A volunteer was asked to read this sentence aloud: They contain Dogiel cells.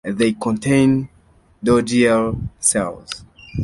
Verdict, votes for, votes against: accepted, 2, 0